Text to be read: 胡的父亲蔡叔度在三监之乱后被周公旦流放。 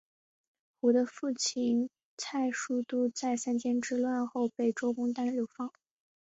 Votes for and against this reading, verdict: 4, 2, accepted